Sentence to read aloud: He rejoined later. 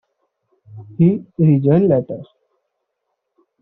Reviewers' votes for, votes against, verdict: 0, 2, rejected